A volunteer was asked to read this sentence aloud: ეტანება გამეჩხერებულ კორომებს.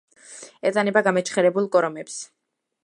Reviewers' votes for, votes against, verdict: 2, 0, accepted